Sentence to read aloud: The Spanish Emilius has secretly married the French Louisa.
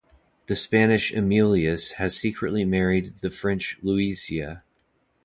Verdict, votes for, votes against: rejected, 0, 3